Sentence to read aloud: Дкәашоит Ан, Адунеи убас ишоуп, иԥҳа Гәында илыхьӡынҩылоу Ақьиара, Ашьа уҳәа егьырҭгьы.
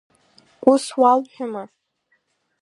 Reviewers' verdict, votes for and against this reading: rejected, 0, 2